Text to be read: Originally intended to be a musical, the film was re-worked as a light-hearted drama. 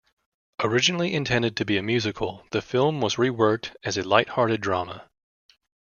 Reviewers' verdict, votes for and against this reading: accepted, 2, 0